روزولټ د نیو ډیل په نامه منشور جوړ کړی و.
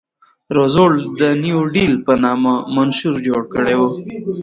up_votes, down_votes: 1, 2